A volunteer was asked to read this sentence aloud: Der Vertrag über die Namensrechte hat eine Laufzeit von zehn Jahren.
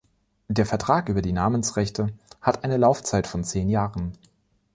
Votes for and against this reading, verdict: 2, 0, accepted